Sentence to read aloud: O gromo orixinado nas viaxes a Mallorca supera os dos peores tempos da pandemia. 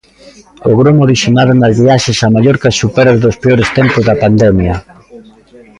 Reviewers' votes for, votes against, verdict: 1, 2, rejected